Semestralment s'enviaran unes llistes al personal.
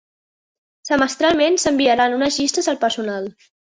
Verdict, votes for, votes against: rejected, 1, 2